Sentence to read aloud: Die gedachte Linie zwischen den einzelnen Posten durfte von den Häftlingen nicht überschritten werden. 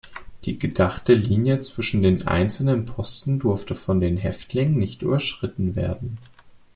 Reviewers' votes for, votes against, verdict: 2, 0, accepted